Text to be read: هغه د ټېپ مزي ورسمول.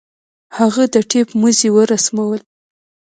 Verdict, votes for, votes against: accepted, 2, 0